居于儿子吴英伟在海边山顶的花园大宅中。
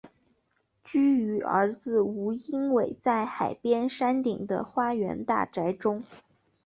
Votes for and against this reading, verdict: 4, 0, accepted